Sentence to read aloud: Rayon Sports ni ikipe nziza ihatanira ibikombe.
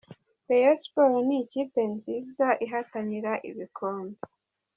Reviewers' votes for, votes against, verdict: 1, 2, rejected